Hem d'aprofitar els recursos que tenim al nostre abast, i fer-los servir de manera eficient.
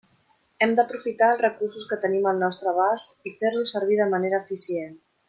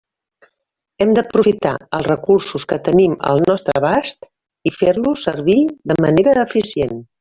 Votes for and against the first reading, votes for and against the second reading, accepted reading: 3, 0, 1, 2, first